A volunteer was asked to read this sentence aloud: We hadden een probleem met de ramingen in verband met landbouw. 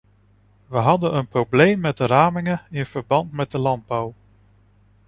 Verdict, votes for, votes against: rejected, 0, 2